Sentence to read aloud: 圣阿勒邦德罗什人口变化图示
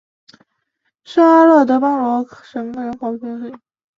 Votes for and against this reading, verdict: 2, 3, rejected